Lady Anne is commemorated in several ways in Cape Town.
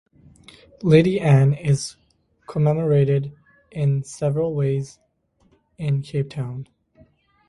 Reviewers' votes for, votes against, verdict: 2, 2, rejected